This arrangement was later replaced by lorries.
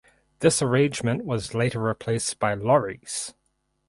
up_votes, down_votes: 4, 0